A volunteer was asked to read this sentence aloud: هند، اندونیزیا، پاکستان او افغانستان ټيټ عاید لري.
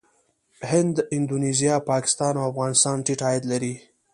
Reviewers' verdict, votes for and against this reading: accepted, 2, 0